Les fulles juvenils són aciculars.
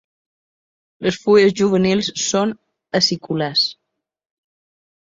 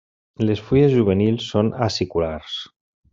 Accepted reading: second